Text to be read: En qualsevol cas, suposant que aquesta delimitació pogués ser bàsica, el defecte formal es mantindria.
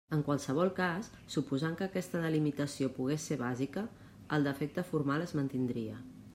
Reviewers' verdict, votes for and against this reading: accepted, 3, 0